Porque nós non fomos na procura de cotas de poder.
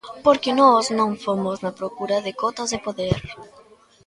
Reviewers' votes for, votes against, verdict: 2, 0, accepted